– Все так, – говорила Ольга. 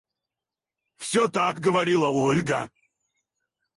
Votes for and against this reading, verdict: 2, 4, rejected